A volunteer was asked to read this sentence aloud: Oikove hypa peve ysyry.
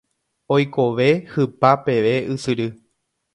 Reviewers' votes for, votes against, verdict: 2, 0, accepted